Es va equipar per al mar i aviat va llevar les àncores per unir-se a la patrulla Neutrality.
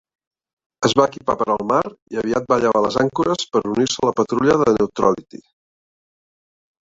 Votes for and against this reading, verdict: 2, 0, accepted